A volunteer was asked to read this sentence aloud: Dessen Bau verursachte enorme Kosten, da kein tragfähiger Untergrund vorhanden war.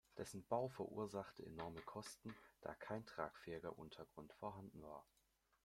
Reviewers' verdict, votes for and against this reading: accepted, 2, 0